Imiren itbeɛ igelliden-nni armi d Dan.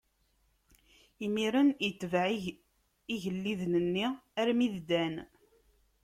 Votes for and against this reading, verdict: 2, 0, accepted